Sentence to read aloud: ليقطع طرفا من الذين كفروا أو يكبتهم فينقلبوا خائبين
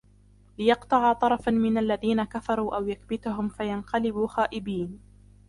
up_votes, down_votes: 0, 2